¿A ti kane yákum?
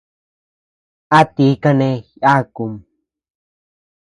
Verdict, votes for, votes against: rejected, 1, 2